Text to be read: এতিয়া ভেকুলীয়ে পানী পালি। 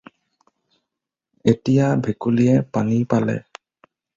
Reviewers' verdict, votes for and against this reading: rejected, 0, 4